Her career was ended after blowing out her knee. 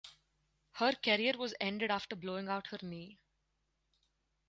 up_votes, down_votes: 2, 4